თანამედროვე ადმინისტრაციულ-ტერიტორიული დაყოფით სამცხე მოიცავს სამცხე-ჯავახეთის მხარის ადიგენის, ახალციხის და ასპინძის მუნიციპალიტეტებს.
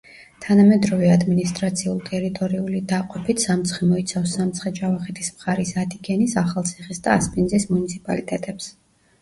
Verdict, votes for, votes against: rejected, 0, 2